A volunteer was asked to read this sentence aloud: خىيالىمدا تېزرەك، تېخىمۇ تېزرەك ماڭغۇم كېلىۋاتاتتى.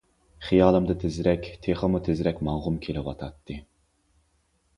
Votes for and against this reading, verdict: 2, 0, accepted